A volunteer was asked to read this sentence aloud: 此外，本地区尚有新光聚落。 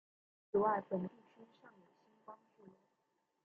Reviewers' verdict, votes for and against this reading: rejected, 0, 2